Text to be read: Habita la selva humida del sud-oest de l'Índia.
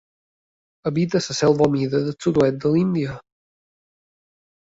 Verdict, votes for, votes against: rejected, 0, 2